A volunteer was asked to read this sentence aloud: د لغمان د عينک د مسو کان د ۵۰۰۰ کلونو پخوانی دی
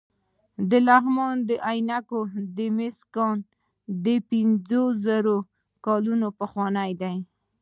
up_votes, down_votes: 0, 2